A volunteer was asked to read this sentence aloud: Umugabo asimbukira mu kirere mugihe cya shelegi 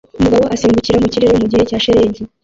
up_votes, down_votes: 0, 2